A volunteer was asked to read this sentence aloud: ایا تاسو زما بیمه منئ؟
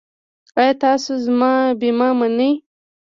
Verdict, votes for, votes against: rejected, 1, 2